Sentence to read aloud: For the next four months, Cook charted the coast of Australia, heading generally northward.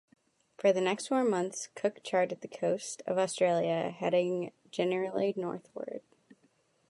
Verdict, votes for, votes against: rejected, 0, 2